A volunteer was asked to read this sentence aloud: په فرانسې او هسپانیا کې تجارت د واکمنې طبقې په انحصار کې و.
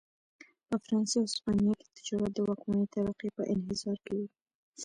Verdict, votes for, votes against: accepted, 2, 0